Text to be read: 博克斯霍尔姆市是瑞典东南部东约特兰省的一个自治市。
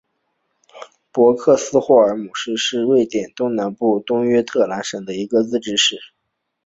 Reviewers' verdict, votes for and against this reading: accepted, 2, 0